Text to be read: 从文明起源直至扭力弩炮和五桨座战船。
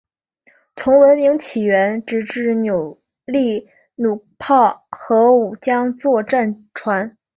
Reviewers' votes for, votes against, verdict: 3, 2, accepted